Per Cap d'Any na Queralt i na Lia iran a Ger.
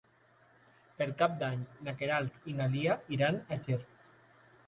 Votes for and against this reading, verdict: 2, 0, accepted